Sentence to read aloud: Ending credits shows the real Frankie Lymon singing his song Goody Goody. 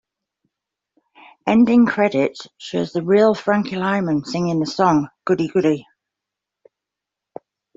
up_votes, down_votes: 2, 0